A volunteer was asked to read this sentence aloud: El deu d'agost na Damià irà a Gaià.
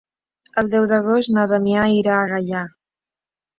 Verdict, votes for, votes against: accepted, 3, 0